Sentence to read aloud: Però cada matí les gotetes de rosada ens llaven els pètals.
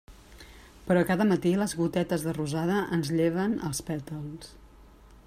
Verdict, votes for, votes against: rejected, 1, 2